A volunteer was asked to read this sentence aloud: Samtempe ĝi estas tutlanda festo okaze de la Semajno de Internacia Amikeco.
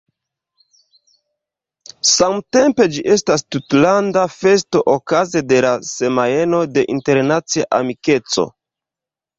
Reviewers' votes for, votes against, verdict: 2, 0, accepted